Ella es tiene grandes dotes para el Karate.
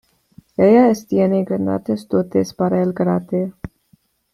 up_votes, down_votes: 0, 2